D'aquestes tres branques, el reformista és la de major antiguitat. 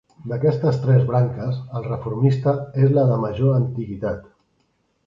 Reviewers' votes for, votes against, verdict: 3, 0, accepted